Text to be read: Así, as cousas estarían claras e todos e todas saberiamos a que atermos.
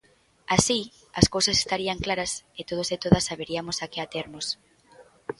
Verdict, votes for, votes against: rejected, 1, 2